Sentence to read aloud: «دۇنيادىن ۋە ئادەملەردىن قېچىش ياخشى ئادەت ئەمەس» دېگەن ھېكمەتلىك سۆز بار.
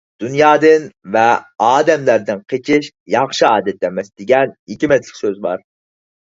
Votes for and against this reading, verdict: 4, 0, accepted